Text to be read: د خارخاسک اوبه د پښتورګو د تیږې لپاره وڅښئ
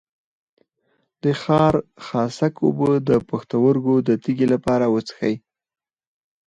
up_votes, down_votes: 4, 2